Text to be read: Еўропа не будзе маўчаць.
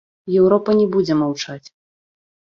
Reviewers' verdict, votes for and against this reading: accepted, 2, 0